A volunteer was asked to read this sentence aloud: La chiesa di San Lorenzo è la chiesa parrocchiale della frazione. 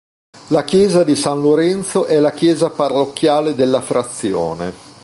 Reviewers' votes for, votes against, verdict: 2, 0, accepted